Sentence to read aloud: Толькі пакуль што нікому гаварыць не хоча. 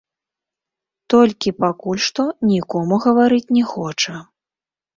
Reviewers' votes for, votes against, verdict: 2, 1, accepted